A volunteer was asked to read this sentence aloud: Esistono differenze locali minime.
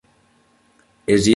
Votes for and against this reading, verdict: 0, 2, rejected